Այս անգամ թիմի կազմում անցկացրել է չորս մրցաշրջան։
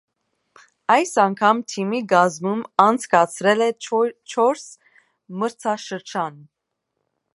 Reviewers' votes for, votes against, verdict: 1, 2, rejected